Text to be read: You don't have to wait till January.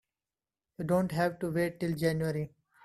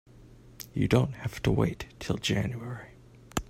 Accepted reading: second